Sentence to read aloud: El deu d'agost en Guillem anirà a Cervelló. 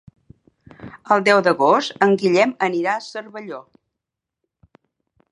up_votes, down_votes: 4, 0